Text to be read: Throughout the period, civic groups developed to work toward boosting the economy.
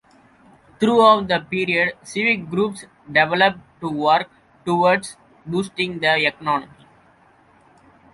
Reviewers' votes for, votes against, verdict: 1, 2, rejected